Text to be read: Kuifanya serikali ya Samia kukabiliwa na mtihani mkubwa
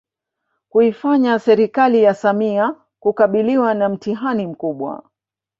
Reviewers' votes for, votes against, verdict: 1, 2, rejected